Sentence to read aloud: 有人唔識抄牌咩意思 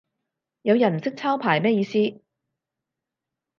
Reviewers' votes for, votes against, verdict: 4, 0, accepted